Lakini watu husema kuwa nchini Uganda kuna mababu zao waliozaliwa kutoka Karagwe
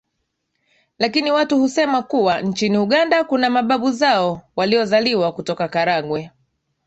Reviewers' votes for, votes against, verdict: 2, 0, accepted